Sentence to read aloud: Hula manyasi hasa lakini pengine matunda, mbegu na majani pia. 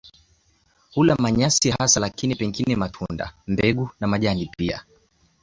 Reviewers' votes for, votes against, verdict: 2, 0, accepted